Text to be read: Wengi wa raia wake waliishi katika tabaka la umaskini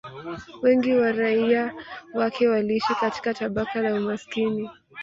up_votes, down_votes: 1, 2